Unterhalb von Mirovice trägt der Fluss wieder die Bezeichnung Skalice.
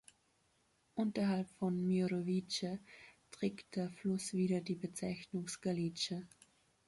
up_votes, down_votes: 2, 0